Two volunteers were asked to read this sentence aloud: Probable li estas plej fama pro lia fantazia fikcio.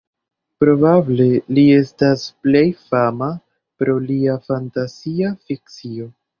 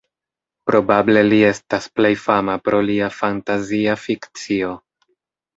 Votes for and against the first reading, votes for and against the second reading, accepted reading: 1, 2, 2, 0, second